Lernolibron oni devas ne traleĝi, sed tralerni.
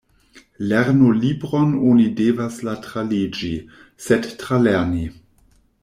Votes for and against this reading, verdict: 0, 2, rejected